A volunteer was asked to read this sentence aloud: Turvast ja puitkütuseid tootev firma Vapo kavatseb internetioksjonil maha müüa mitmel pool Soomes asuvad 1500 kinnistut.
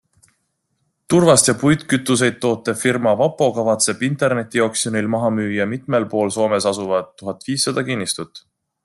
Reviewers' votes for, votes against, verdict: 0, 2, rejected